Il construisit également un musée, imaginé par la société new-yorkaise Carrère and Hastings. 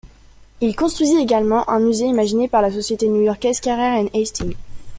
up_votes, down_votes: 2, 0